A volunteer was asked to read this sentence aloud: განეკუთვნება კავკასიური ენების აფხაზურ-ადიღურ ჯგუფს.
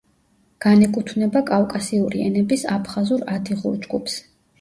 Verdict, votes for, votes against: accepted, 2, 0